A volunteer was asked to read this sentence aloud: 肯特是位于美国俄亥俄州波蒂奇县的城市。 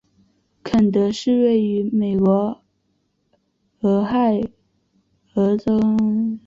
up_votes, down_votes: 1, 2